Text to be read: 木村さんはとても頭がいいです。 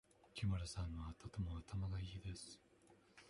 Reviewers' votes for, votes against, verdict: 2, 0, accepted